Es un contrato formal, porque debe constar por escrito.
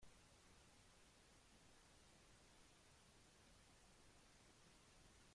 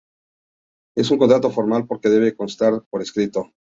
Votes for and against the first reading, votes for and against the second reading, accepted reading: 0, 2, 2, 0, second